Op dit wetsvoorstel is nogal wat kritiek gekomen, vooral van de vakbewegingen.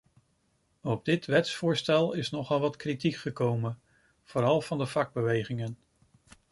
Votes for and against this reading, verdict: 2, 0, accepted